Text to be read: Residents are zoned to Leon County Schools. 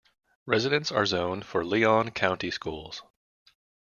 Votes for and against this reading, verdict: 1, 2, rejected